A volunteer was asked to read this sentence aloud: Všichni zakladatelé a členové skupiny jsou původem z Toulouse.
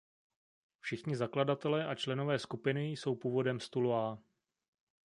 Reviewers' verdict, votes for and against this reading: rejected, 0, 2